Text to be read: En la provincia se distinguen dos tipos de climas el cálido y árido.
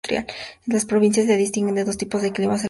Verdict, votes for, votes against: rejected, 0, 2